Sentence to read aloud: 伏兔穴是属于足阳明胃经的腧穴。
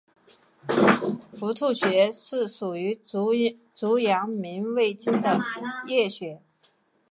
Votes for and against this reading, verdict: 2, 0, accepted